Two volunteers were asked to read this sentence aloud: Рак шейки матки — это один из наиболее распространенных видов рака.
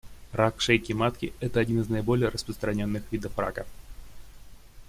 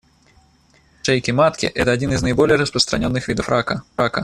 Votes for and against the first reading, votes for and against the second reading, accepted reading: 2, 0, 0, 2, first